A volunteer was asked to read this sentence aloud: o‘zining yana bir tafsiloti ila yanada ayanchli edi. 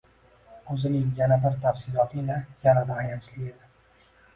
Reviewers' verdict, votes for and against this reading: rejected, 0, 2